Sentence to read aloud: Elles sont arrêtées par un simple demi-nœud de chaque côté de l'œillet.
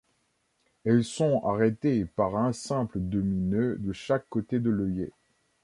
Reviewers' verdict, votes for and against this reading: accepted, 2, 0